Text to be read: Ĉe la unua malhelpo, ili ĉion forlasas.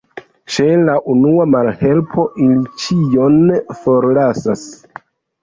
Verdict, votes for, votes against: rejected, 1, 2